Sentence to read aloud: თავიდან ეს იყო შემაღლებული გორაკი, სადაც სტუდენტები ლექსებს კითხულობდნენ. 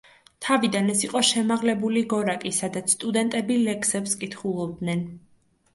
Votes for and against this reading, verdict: 2, 0, accepted